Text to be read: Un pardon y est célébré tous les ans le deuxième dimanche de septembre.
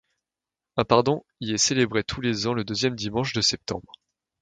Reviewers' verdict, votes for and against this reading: accepted, 2, 0